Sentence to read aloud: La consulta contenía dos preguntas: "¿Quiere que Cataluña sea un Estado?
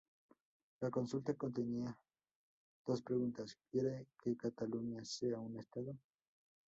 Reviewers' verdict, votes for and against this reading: accepted, 2, 0